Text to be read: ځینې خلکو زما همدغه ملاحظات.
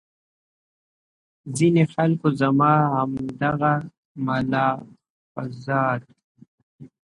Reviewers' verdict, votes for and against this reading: rejected, 1, 2